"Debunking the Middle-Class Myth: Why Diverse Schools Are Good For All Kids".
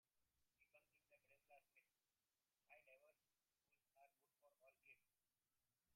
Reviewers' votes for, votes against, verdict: 0, 2, rejected